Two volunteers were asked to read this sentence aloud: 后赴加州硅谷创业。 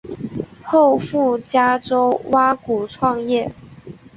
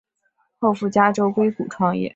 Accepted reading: second